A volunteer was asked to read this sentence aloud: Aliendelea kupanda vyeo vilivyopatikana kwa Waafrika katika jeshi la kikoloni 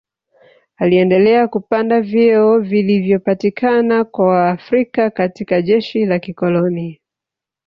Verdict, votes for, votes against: rejected, 1, 2